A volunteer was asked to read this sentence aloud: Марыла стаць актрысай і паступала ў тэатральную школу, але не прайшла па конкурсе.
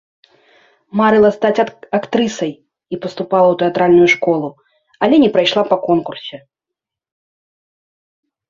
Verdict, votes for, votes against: rejected, 1, 2